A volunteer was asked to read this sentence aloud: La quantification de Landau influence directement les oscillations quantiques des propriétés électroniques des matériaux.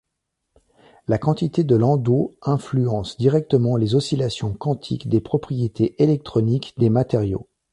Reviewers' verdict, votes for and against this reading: rejected, 1, 2